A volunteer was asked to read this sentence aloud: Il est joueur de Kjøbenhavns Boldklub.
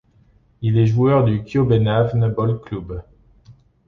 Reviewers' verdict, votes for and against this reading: accepted, 2, 1